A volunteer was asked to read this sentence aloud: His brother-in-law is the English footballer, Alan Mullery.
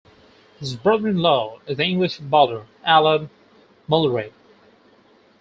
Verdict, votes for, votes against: rejected, 0, 4